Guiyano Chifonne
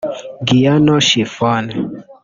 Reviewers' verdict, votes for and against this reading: rejected, 1, 2